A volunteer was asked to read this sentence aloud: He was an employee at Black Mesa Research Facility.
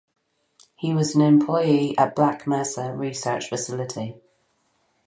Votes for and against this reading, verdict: 4, 0, accepted